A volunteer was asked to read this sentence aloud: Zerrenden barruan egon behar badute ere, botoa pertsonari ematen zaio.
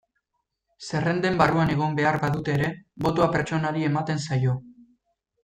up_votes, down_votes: 1, 2